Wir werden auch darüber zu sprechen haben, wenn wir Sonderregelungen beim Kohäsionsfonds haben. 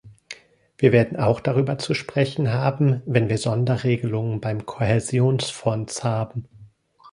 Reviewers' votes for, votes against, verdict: 0, 2, rejected